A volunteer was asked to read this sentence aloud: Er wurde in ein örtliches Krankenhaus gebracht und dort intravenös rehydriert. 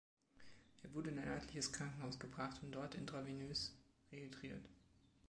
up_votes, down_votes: 2, 0